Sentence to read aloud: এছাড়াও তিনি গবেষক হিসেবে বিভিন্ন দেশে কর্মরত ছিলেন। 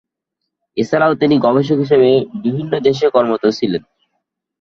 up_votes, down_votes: 8, 14